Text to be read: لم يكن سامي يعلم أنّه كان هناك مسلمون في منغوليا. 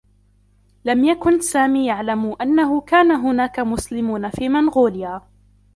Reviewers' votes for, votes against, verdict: 1, 2, rejected